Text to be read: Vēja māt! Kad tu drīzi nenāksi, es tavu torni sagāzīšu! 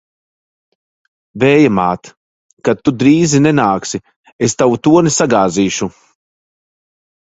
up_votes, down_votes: 2, 0